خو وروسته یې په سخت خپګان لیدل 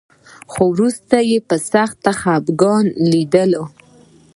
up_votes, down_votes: 2, 1